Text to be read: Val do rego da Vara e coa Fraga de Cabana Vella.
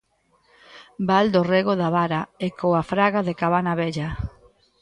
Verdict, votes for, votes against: accepted, 2, 0